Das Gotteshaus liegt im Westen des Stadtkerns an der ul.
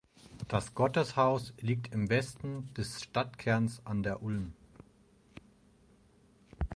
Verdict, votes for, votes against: rejected, 2, 4